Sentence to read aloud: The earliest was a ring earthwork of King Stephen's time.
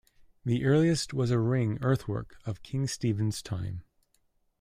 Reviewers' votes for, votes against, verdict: 2, 1, accepted